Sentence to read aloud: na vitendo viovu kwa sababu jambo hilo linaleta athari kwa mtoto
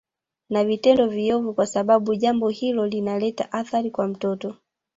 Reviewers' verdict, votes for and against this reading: rejected, 1, 2